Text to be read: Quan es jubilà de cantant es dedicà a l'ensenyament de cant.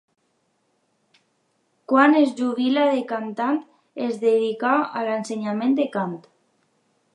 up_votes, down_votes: 0, 2